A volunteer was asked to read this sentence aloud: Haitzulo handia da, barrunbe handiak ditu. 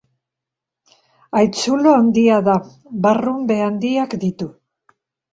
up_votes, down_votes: 2, 0